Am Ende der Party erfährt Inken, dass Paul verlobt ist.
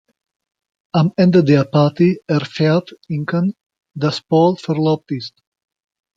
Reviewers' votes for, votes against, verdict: 2, 0, accepted